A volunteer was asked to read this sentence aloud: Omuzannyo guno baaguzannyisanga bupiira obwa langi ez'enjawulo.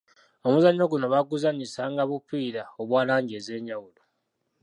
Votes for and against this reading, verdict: 1, 2, rejected